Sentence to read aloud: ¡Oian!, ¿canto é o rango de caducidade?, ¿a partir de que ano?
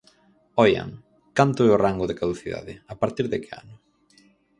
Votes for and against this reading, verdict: 4, 0, accepted